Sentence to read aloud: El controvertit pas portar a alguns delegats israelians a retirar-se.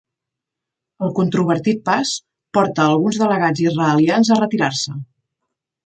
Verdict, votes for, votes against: rejected, 1, 2